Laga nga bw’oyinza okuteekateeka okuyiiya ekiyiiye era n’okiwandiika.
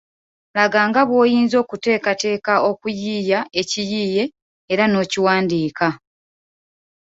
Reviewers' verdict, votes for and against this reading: accepted, 2, 0